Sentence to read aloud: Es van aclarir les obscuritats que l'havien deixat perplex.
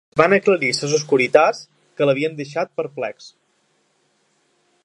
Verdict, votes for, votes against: rejected, 1, 2